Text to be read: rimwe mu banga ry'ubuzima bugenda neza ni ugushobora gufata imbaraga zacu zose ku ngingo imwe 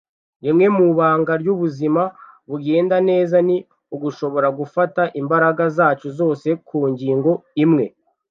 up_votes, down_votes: 0, 2